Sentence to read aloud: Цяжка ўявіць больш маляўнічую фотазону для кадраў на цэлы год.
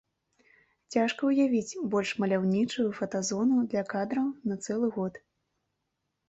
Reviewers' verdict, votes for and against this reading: accepted, 2, 0